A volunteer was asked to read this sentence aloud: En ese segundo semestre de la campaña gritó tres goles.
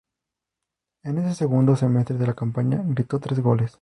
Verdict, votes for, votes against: rejected, 0, 2